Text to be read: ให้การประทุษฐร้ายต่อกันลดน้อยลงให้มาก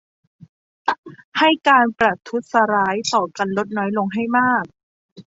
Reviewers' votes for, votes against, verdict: 2, 0, accepted